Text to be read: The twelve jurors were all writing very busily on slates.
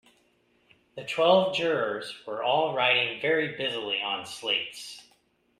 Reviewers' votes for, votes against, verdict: 2, 0, accepted